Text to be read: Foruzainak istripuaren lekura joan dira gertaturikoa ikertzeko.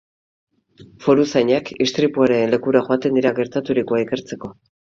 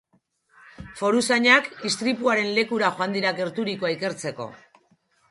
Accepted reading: second